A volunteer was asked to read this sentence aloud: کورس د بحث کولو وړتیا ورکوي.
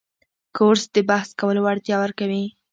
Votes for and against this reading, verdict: 0, 2, rejected